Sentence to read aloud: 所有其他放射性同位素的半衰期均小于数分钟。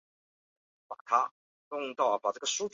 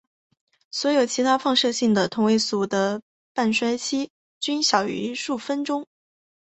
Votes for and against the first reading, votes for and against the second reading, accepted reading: 0, 2, 4, 1, second